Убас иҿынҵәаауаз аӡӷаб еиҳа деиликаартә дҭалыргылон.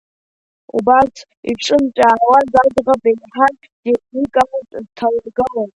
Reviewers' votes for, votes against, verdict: 0, 2, rejected